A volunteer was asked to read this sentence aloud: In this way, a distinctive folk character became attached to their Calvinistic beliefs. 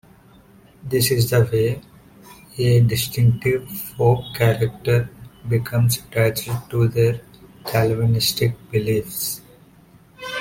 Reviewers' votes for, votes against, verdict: 1, 2, rejected